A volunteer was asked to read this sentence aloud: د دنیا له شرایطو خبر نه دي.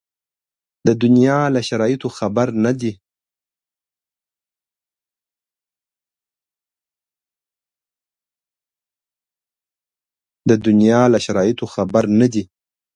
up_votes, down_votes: 2, 1